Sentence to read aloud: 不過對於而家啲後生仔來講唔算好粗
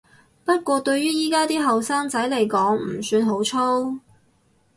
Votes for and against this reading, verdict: 2, 4, rejected